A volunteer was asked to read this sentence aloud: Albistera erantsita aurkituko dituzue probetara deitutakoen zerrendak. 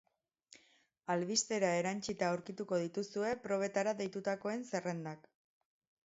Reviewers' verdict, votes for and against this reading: accepted, 4, 0